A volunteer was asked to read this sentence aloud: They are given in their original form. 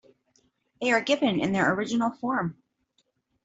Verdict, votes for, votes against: accepted, 2, 0